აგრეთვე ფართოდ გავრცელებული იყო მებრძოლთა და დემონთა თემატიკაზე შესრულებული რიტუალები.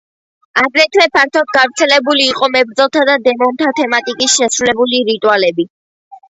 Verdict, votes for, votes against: accepted, 2, 1